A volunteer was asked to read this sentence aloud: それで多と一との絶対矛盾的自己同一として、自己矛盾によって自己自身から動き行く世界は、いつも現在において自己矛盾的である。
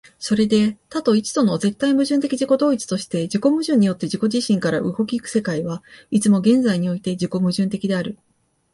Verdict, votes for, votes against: accepted, 15, 2